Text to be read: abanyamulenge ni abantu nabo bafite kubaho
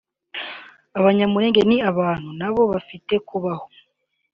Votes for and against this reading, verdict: 2, 0, accepted